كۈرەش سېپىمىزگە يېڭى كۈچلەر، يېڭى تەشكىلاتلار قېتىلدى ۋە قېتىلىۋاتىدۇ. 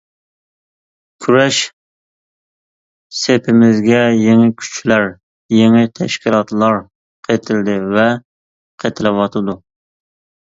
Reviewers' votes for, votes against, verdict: 2, 0, accepted